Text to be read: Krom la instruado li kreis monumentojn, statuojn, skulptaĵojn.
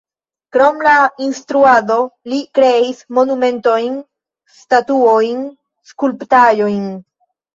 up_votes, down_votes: 1, 2